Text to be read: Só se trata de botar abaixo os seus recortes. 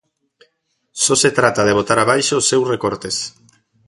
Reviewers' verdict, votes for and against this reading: accepted, 2, 0